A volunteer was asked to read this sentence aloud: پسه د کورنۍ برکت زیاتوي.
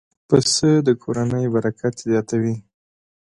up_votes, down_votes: 2, 0